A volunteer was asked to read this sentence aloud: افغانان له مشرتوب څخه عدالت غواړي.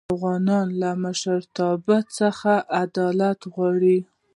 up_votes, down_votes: 1, 2